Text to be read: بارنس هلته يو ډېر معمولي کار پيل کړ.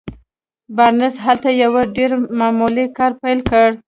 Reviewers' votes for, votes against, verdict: 2, 1, accepted